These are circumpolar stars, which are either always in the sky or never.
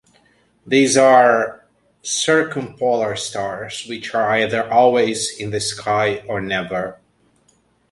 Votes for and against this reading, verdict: 2, 0, accepted